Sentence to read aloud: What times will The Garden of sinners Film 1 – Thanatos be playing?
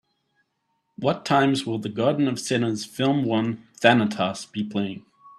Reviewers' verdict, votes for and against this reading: rejected, 0, 2